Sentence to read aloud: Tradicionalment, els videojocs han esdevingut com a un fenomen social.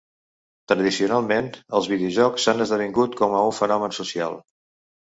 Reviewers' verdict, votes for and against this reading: accepted, 2, 0